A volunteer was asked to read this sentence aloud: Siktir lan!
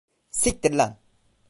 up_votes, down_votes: 2, 0